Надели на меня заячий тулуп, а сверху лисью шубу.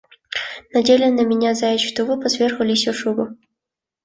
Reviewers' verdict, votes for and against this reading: accepted, 2, 0